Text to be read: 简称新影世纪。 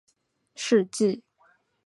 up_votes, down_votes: 0, 4